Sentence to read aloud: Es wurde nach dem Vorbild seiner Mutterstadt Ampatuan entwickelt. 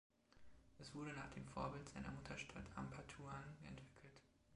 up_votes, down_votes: 2, 1